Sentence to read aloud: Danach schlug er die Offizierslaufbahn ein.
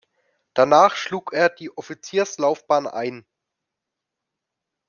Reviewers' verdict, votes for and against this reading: accepted, 2, 0